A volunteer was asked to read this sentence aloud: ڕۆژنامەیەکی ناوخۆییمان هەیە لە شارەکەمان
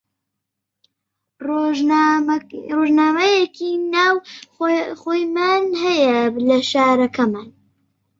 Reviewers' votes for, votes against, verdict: 0, 4, rejected